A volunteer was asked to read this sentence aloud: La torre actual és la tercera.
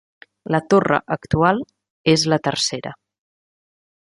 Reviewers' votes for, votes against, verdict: 4, 0, accepted